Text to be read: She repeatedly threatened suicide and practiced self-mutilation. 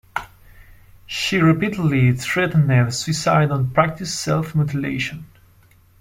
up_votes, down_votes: 2, 1